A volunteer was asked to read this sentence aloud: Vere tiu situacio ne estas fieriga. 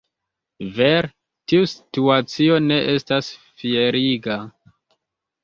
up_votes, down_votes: 0, 3